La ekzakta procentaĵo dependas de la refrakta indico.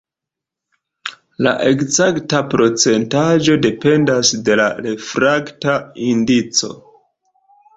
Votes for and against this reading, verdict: 2, 0, accepted